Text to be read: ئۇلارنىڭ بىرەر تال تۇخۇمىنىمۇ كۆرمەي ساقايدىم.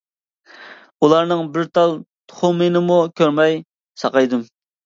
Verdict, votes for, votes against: rejected, 0, 2